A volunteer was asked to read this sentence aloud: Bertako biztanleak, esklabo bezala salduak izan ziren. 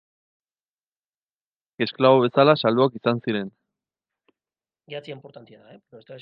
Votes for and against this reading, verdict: 0, 4, rejected